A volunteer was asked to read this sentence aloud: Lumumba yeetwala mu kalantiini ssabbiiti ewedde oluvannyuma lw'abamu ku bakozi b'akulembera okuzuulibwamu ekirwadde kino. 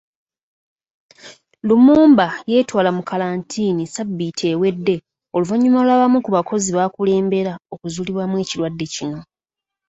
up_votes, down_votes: 2, 1